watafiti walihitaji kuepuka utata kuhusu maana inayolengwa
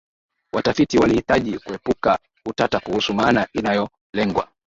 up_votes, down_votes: 2, 1